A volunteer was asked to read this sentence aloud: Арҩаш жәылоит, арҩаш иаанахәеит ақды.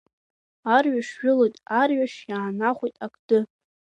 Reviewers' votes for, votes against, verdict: 2, 1, accepted